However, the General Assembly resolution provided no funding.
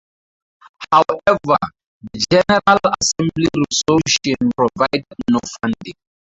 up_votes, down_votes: 4, 2